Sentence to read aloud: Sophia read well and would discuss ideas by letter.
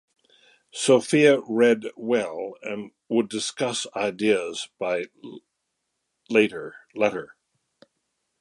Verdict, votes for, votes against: rejected, 0, 2